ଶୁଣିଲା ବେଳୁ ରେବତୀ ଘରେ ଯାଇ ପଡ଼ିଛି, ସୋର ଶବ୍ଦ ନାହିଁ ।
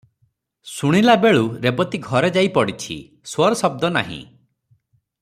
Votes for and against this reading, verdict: 3, 0, accepted